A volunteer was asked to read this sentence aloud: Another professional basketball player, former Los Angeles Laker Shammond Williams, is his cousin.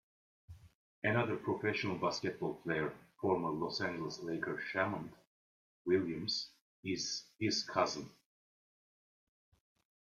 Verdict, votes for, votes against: accepted, 2, 0